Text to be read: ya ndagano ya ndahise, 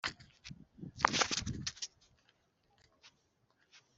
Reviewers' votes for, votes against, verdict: 0, 2, rejected